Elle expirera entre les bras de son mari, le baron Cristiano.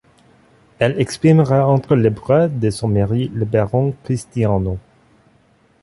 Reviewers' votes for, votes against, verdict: 2, 0, accepted